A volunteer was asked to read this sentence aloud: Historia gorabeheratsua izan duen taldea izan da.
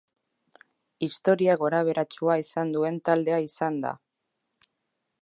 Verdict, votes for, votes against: accepted, 3, 0